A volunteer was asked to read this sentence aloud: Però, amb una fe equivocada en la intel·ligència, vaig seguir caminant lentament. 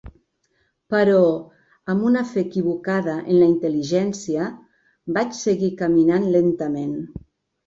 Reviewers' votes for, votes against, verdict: 3, 0, accepted